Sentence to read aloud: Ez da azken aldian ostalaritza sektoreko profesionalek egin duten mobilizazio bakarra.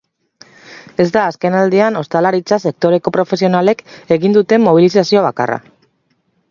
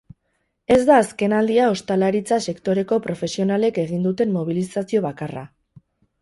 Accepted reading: first